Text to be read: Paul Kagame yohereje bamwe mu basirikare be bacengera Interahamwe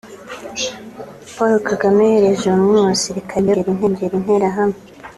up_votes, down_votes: 1, 2